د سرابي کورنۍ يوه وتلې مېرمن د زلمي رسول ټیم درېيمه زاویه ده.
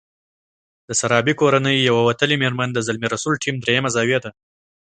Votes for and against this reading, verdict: 2, 0, accepted